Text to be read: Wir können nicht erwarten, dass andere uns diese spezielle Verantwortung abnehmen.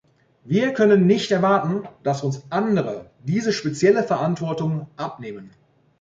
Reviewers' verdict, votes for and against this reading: rejected, 0, 2